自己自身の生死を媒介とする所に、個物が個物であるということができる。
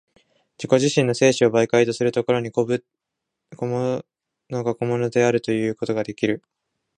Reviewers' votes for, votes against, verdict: 1, 2, rejected